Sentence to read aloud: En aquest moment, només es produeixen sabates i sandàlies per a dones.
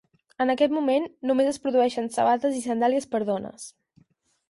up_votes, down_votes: 2, 4